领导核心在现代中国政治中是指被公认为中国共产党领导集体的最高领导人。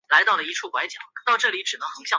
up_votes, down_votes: 0, 2